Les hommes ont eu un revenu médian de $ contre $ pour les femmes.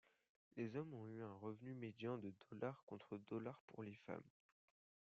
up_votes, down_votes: 2, 0